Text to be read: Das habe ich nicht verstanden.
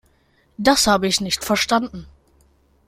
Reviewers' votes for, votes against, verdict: 2, 0, accepted